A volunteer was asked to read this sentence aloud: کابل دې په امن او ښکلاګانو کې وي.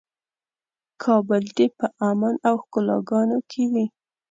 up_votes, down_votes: 2, 0